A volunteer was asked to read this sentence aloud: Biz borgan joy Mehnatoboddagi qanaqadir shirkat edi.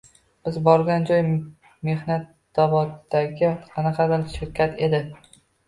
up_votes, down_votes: 0, 2